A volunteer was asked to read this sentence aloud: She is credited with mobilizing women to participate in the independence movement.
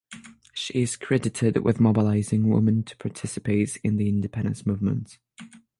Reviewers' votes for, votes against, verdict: 0, 6, rejected